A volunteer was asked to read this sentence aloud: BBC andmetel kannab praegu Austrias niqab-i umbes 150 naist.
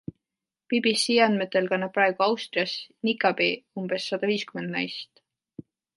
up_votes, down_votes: 0, 2